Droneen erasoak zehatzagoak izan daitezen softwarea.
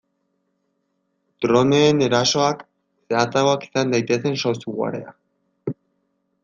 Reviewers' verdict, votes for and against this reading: rejected, 1, 2